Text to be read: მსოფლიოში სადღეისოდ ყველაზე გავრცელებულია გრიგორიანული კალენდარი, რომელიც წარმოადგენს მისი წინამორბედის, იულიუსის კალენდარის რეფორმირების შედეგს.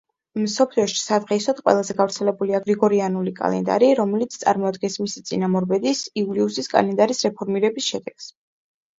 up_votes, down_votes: 2, 0